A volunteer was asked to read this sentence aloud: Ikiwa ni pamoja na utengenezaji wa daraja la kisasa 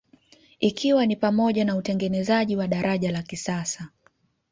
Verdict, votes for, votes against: accepted, 2, 0